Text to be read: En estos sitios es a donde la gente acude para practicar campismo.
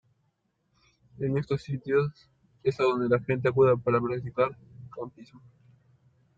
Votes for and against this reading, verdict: 1, 2, rejected